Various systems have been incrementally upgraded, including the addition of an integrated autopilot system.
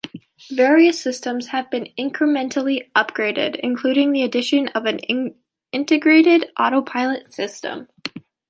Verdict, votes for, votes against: rejected, 0, 2